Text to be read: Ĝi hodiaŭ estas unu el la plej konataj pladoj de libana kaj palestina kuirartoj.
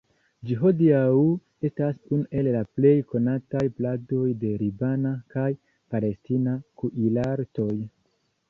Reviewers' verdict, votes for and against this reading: accepted, 2, 1